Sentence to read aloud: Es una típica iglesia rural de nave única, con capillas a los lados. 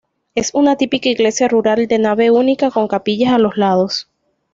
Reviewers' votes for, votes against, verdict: 2, 0, accepted